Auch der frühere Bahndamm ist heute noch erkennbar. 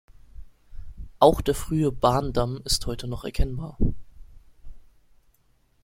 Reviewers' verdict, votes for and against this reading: rejected, 1, 2